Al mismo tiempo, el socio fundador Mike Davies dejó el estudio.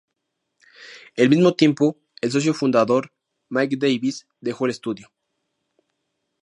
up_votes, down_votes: 0, 2